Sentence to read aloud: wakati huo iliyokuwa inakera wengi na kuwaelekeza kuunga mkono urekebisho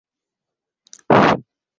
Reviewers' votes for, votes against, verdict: 0, 2, rejected